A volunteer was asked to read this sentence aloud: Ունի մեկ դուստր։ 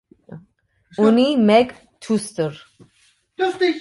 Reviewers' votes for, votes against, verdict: 0, 2, rejected